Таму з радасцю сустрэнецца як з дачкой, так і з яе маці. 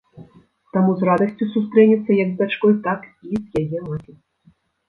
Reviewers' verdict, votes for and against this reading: rejected, 0, 2